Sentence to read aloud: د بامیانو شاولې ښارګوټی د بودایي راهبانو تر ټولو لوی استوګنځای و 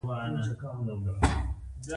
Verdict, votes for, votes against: rejected, 0, 2